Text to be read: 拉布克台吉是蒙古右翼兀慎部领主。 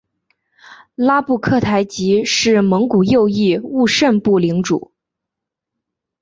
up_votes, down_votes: 2, 0